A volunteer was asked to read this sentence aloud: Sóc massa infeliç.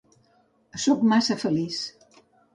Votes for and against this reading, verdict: 1, 3, rejected